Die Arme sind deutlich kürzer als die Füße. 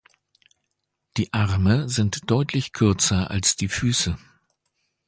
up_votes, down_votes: 2, 0